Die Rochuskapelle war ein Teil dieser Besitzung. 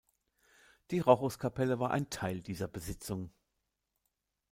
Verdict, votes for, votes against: accepted, 2, 0